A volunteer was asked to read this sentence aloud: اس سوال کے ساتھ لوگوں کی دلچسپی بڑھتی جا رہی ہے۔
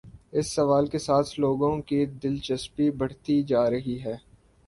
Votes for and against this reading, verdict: 2, 0, accepted